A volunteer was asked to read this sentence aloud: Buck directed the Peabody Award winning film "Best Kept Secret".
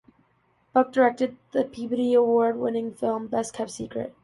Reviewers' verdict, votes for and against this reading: accepted, 2, 0